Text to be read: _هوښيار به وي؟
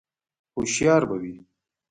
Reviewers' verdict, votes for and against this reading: accepted, 2, 0